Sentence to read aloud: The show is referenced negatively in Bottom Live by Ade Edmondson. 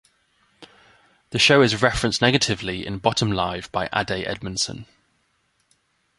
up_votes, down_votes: 2, 0